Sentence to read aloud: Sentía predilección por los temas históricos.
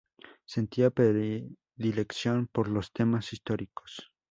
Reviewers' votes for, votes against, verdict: 2, 0, accepted